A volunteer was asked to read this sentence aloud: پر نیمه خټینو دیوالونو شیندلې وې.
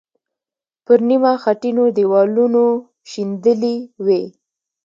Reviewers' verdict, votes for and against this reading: accepted, 2, 0